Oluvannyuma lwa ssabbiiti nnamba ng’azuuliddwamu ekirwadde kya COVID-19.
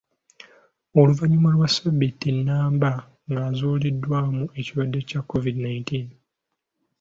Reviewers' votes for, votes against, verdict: 0, 2, rejected